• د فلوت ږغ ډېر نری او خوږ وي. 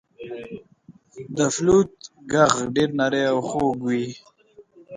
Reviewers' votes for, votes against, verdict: 0, 2, rejected